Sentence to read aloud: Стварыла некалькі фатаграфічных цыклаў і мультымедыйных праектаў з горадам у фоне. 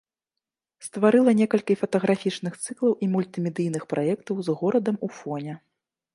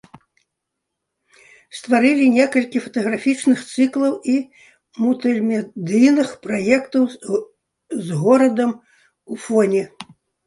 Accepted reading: first